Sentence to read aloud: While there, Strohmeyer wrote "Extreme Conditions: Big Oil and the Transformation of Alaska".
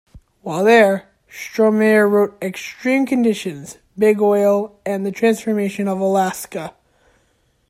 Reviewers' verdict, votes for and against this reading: accepted, 2, 0